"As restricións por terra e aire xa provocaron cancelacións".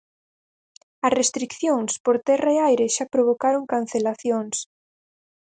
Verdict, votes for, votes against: rejected, 2, 4